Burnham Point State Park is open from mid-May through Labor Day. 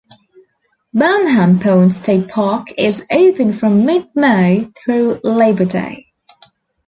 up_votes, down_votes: 2, 0